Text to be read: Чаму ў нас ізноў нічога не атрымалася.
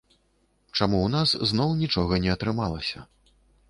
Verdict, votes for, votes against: rejected, 0, 2